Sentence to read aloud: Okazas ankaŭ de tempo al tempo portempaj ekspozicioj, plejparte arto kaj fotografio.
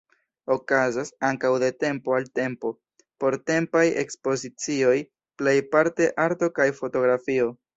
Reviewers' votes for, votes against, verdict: 2, 0, accepted